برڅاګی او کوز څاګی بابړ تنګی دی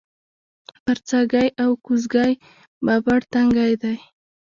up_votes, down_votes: 1, 2